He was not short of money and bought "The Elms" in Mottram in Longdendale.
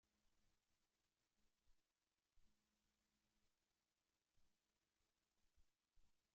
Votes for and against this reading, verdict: 0, 2, rejected